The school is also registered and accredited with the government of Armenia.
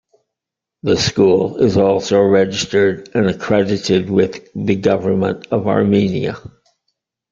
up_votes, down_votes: 2, 0